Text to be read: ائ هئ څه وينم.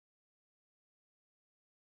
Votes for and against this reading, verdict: 1, 2, rejected